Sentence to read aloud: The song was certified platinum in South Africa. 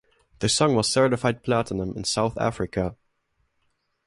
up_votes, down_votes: 2, 0